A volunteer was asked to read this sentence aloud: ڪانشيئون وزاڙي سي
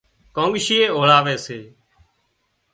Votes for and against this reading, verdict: 0, 2, rejected